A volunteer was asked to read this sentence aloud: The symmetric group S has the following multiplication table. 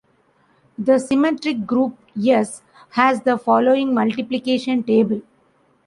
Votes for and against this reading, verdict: 1, 2, rejected